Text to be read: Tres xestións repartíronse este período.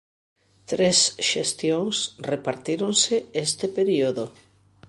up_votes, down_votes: 0, 2